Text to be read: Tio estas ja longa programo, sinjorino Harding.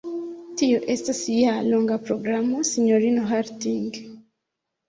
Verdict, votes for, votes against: accepted, 2, 0